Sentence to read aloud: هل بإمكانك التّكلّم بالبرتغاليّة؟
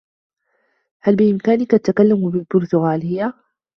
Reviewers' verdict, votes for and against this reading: accepted, 2, 1